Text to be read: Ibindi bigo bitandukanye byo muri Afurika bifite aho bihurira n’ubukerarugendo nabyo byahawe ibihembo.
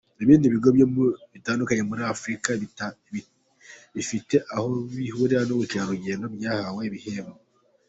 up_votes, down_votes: 2, 1